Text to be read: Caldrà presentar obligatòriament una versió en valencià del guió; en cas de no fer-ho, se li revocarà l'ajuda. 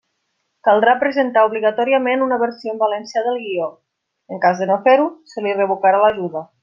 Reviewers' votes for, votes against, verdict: 2, 0, accepted